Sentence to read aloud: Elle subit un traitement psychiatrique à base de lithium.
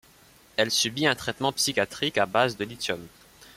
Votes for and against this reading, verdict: 2, 0, accepted